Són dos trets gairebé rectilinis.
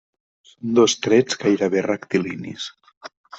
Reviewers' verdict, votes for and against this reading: rejected, 0, 2